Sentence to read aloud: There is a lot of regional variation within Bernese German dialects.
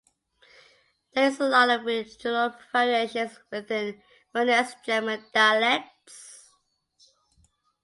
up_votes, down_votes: 0, 2